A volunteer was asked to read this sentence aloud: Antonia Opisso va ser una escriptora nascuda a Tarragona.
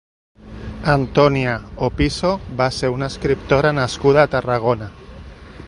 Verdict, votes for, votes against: accepted, 2, 0